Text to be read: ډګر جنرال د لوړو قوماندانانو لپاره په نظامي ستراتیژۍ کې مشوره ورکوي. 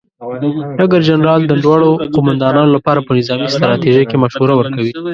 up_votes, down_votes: 0, 2